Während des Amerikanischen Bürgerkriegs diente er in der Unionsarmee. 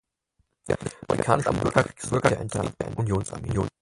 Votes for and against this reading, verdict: 0, 6, rejected